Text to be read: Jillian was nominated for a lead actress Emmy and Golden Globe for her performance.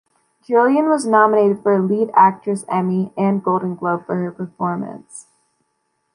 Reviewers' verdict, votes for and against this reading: rejected, 0, 2